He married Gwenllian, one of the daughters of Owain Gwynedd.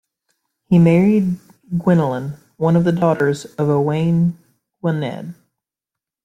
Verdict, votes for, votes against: rejected, 1, 2